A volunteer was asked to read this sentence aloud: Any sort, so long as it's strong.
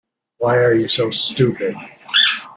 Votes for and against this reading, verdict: 0, 2, rejected